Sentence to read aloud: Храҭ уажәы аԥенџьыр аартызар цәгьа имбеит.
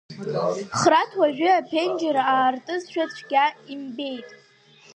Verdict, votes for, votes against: rejected, 0, 2